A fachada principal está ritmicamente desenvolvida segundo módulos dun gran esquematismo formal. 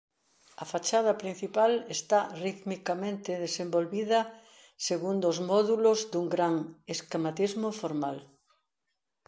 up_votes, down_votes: 0, 2